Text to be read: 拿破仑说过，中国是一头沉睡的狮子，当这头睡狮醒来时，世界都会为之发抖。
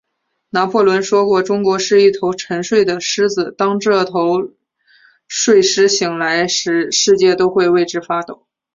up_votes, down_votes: 3, 1